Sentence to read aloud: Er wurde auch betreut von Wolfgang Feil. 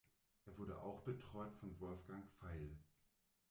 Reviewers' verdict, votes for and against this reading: rejected, 0, 2